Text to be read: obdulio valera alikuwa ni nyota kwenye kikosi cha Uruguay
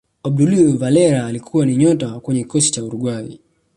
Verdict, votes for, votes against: accepted, 2, 0